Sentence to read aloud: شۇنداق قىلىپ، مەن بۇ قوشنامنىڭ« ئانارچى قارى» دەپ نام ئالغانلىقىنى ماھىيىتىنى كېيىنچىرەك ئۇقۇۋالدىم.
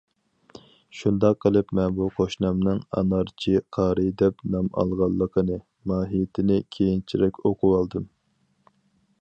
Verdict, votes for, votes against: accepted, 4, 2